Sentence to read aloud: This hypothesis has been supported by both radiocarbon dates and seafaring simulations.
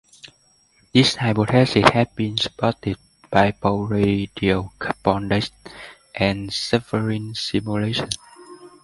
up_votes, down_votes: 0, 2